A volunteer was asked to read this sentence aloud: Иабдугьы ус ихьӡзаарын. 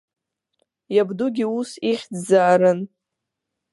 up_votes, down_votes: 3, 0